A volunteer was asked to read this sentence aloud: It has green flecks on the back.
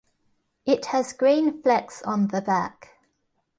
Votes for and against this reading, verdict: 2, 0, accepted